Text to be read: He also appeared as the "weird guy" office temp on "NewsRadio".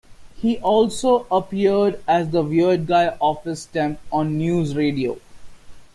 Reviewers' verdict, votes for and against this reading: accepted, 2, 0